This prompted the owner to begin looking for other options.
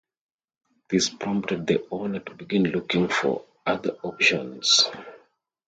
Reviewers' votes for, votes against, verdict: 2, 0, accepted